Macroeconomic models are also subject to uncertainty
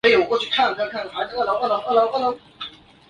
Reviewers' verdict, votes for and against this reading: rejected, 0, 2